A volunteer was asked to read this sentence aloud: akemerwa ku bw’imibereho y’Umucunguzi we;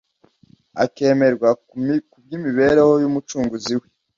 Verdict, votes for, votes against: rejected, 1, 2